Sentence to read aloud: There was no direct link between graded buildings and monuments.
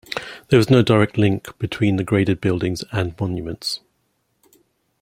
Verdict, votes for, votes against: rejected, 1, 2